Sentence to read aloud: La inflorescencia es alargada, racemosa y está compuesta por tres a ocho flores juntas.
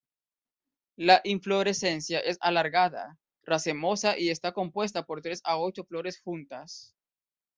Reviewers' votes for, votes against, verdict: 2, 0, accepted